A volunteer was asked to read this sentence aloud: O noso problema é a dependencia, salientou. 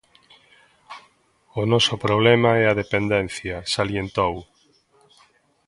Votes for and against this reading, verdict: 1, 2, rejected